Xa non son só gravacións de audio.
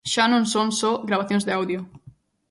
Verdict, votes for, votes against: accepted, 2, 0